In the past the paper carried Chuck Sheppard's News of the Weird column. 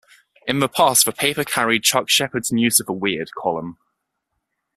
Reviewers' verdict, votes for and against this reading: accepted, 2, 0